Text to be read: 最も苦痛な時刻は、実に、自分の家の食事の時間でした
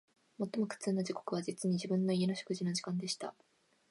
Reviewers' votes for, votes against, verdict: 1, 2, rejected